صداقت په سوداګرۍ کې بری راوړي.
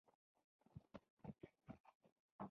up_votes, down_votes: 0, 2